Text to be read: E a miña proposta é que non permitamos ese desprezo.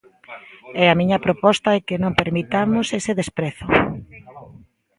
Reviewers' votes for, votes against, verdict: 2, 0, accepted